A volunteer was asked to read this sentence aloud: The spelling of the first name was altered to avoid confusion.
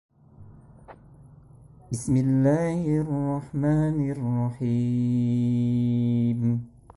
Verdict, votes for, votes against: rejected, 0, 2